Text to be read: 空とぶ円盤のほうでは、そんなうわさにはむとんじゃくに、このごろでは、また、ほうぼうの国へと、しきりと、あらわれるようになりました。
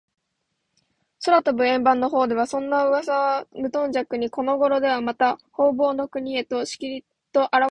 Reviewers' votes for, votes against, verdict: 0, 2, rejected